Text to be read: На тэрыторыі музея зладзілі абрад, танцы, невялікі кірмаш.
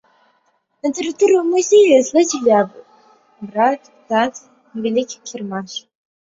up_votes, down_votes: 0, 2